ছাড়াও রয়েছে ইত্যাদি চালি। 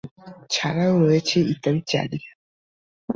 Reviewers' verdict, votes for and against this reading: rejected, 1, 2